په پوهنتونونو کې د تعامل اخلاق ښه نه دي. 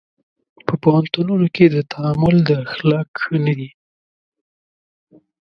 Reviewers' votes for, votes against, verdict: 2, 0, accepted